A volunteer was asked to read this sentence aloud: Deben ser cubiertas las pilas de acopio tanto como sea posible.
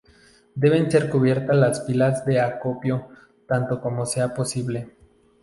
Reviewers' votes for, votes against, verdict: 2, 0, accepted